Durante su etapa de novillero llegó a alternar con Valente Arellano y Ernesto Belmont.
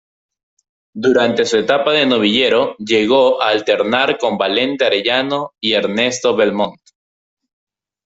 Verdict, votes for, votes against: accepted, 2, 1